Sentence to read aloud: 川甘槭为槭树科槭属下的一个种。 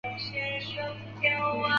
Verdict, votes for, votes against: rejected, 0, 2